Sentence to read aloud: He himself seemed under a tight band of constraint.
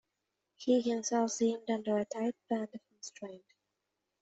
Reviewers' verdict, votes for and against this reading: accepted, 2, 0